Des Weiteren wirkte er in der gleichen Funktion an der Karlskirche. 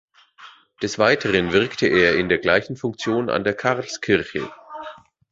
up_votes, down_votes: 2, 0